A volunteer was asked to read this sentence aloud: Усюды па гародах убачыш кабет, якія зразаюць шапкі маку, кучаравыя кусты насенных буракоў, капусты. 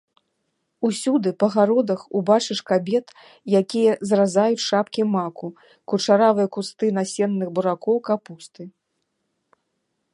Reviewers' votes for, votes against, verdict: 2, 0, accepted